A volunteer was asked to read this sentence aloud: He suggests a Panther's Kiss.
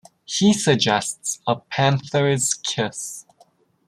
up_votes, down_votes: 2, 0